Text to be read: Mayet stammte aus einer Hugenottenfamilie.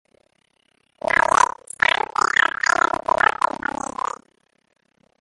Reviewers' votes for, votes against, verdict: 0, 2, rejected